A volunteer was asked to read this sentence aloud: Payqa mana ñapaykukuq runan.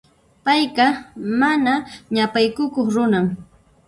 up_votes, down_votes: 0, 2